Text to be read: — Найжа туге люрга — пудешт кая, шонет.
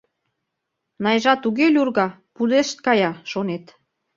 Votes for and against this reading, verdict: 2, 0, accepted